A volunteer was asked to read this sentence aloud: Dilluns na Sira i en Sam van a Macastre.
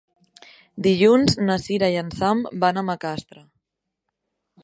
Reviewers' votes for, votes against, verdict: 4, 0, accepted